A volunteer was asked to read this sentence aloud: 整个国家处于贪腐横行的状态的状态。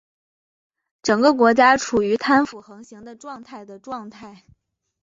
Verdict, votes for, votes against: accepted, 3, 0